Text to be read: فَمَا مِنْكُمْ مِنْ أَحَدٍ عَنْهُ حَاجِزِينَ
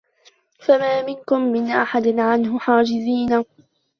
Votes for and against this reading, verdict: 1, 2, rejected